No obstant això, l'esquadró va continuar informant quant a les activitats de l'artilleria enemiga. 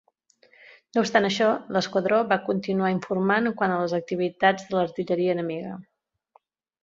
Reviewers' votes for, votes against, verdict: 2, 1, accepted